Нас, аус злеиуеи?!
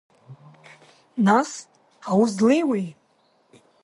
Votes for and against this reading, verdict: 2, 0, accepted